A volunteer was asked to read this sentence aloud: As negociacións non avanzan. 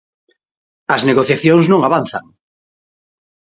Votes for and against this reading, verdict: 2, 0, accepted